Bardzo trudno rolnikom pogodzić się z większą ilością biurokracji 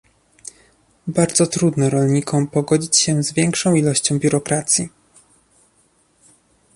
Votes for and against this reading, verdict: 2, 0, accepted